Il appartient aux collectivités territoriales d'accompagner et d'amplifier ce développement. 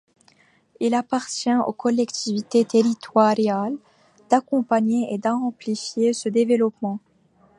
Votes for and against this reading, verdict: 1, 2, rejected